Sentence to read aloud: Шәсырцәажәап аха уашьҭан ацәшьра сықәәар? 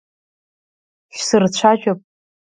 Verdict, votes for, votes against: rejected, 0, 3